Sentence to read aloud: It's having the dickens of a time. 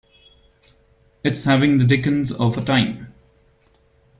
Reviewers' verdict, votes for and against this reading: rejected, 1, 2